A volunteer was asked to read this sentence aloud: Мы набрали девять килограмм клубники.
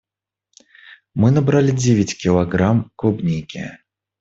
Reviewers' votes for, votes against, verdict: 2, 0, accepted